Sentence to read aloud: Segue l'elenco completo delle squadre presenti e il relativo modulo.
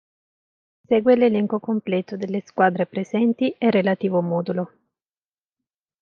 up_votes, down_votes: 0, 2